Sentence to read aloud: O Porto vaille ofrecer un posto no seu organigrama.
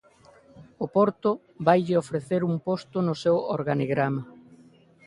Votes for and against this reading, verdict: 2, 0, accepted